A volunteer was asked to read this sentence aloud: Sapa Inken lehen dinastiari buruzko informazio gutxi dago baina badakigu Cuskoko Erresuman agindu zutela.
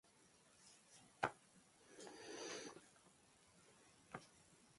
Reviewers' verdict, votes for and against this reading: rejected, 0, 2